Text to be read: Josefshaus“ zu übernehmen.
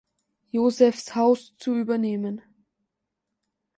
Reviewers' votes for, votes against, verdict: 2, 0, accepted